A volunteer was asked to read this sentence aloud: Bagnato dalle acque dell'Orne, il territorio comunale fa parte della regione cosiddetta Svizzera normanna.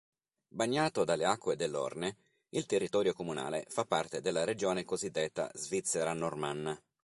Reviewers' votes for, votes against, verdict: 3, 0, accepted